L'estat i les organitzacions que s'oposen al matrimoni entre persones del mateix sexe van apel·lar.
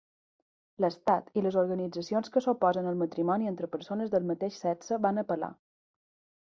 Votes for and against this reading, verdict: 2, 0, accepted